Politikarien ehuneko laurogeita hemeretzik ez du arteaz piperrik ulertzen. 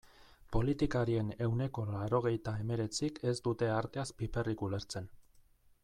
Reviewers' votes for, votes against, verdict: 0, 2, rejected